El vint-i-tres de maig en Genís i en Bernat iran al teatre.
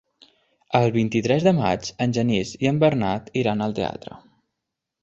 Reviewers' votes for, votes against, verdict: 3, 0, accepted